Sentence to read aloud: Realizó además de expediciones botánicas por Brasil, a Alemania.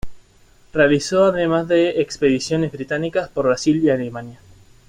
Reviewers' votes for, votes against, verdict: 0, 2, rejected